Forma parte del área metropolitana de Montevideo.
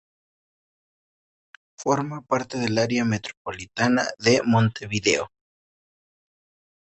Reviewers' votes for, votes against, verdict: 2, 0, accepted